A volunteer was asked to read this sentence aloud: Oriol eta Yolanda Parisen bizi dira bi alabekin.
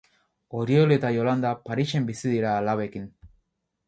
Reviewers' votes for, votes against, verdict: 2, 2, rejected